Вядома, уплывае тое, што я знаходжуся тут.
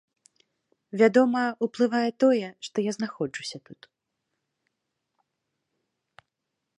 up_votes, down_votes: 2, 0